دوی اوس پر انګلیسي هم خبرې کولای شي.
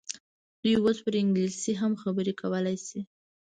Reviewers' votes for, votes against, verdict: 1, 2, rejected